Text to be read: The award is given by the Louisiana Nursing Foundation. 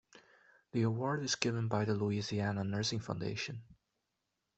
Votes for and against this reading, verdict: 2, 0, accepted